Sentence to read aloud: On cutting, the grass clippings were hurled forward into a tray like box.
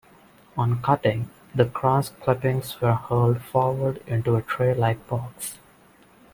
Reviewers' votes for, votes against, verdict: 2, 1, accepted